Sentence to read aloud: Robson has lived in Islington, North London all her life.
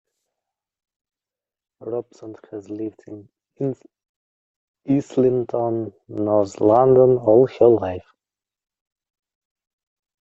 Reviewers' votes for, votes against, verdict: 0, 2, rejected